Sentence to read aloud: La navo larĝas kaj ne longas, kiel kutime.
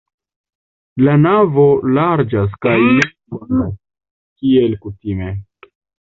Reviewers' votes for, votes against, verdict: 0, 2, rejected